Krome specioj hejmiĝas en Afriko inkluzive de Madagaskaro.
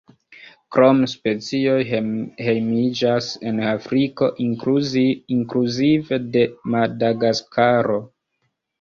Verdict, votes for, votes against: rejected, 0, 2